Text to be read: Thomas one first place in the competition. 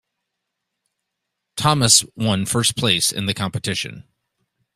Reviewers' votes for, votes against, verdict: 2, 0, accepted